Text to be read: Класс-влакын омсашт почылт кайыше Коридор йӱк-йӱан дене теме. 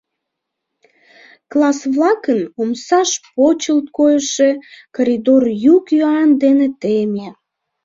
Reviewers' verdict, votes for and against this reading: rejected, 0, 2